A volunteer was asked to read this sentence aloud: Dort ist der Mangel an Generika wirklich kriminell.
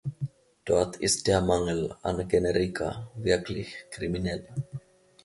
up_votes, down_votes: 1, 2